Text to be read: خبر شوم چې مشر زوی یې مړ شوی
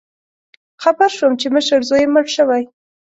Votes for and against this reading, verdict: 2, 0, accepted